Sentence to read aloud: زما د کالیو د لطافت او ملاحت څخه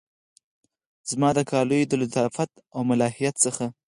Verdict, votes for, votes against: rejected, 2, 4